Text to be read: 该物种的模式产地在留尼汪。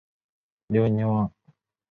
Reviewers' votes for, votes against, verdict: 1, 2, rejected